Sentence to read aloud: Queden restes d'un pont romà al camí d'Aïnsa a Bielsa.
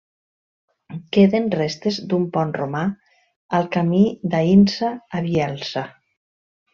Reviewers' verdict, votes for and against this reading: accepted, 3, 0